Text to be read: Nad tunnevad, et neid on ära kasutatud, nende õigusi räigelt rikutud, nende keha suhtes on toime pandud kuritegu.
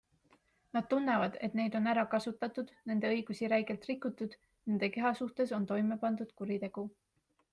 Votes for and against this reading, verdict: 2, 0, accepted